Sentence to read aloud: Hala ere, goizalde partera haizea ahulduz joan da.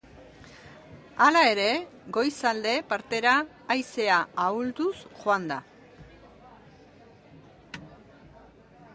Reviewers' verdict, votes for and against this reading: accepted, 3, 0